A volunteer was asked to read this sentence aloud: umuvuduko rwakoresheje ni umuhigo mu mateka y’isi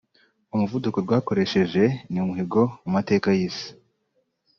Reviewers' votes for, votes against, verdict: 2, 0, accepted